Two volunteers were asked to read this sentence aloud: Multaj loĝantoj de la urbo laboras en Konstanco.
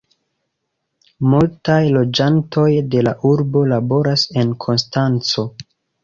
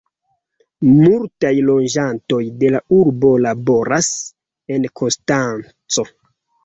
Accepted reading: first